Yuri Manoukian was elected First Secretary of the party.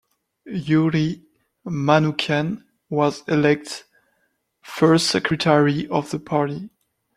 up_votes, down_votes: 1, 2